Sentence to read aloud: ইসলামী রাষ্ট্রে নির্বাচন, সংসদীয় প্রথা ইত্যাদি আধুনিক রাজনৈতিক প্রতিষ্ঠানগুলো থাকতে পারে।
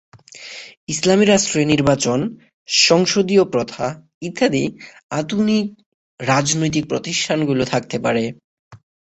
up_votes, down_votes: 6, 0